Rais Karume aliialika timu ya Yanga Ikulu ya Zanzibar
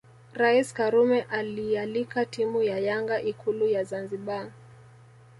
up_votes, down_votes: 2, 0